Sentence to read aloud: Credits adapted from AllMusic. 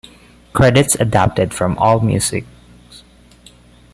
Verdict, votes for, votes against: accepted, 2, 0